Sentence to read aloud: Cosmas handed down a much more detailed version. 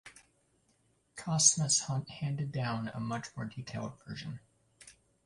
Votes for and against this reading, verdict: 1, 2, rejected